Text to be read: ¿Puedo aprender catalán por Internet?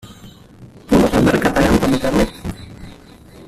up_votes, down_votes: 0, 2